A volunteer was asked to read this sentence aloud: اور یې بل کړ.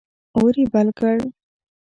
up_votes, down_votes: 2, 0